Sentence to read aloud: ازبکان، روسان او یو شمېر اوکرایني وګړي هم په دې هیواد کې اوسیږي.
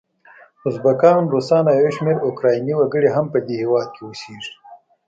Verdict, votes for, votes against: rejected, 0, 2